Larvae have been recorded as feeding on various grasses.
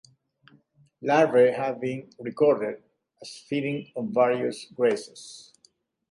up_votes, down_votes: 2, 0